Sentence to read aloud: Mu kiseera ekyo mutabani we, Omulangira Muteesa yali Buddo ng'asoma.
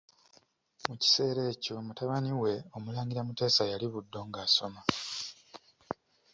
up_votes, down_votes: 4, 2